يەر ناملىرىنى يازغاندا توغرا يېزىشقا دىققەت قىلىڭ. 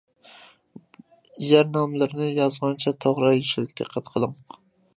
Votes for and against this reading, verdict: 0, 2, rejected